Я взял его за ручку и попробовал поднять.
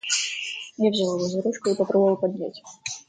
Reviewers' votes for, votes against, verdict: 1, 2, rejected